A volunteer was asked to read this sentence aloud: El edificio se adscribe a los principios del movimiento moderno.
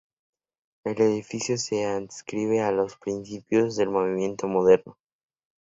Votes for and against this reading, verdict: 2, 0, accepted